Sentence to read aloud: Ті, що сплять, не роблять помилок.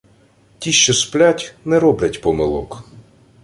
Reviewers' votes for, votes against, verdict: 2, 0, accepted